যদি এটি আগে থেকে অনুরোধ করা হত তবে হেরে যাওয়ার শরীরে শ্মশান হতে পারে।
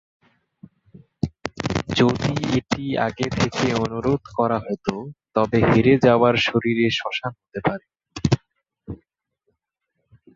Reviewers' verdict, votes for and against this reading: rejected, 0, 2